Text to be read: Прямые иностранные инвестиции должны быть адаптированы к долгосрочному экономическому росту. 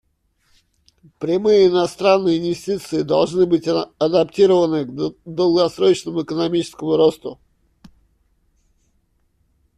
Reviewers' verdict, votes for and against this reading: rejected, 1, 2